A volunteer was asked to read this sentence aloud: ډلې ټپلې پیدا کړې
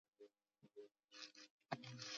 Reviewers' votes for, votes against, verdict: 0, 2, rejected